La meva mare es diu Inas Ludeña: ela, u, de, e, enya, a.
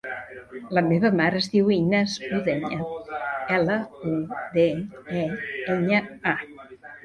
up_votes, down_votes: 0, 2